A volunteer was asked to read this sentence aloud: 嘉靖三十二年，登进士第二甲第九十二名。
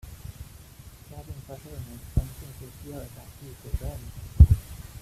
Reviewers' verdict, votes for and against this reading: rejected, 0, 2